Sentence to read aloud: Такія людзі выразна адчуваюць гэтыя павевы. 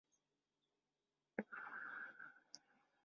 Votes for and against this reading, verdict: 0, 2, rejected